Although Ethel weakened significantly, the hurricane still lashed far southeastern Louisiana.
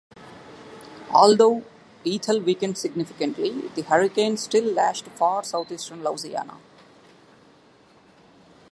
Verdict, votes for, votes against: rejected, 1, 2